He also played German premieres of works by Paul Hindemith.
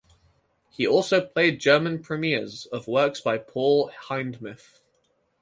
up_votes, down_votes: 2, 2